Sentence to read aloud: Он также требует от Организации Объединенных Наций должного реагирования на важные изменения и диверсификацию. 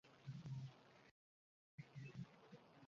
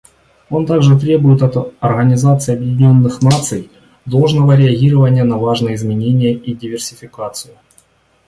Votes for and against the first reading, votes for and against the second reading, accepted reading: 0, 2, 2, 0, second